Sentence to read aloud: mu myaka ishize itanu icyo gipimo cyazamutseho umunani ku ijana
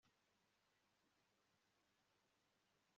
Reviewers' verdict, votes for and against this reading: rejected, 1, 2